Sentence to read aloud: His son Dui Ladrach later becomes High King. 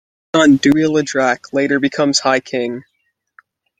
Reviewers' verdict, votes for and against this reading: rejected, 0, 2